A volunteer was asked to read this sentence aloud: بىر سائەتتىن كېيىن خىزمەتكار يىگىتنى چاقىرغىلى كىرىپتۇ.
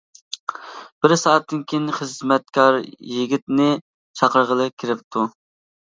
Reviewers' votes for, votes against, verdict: 2, 0, accepted